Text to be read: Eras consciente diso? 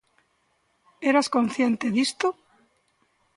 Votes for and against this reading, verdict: 0, 2, rejected